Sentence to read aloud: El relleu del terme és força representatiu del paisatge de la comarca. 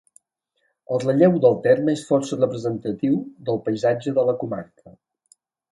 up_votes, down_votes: 2, 0